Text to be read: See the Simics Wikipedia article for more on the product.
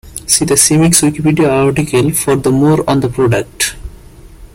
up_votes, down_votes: 1, 2